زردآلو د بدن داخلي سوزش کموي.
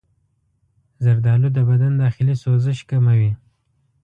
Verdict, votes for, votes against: accepted, 2, 0